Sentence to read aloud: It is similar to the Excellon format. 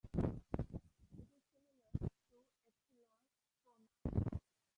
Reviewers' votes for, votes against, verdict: 0, 2, rejected